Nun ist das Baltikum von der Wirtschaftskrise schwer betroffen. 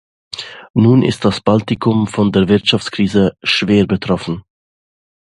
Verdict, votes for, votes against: accepted, 2, 0